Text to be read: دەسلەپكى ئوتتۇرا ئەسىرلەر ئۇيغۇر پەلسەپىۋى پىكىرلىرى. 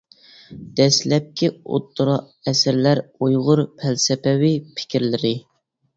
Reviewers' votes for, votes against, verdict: 2, 0, accepted